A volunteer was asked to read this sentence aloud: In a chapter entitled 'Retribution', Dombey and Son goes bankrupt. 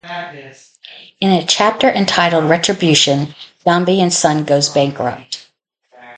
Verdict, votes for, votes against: rejected, 0, 2